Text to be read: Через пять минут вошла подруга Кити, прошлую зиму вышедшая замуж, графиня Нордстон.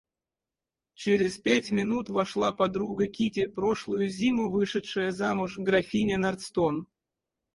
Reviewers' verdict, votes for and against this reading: rejected, 0, 4